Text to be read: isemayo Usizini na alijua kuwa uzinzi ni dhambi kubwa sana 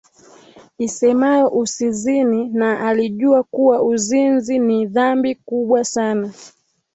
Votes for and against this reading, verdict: 2, 0, accepted